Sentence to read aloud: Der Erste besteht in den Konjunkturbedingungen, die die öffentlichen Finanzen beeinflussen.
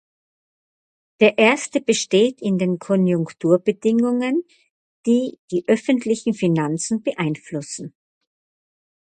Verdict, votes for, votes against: accepted, 4, 0